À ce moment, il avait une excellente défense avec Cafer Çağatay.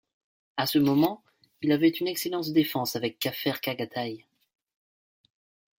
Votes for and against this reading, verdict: 1, 2, rejected